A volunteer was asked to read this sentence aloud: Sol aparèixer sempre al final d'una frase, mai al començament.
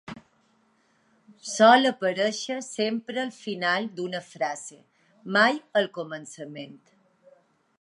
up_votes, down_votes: 2, 1